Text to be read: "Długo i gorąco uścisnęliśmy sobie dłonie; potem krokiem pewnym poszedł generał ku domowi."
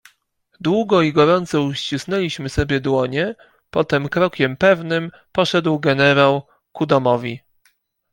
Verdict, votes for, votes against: accepted, 2, 0